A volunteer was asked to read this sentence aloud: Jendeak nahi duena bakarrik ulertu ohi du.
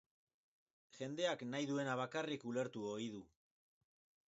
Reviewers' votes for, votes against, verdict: 6, 0, accepted